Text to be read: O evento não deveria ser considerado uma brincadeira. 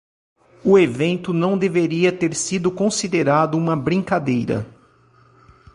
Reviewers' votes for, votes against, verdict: 0, 3, rejected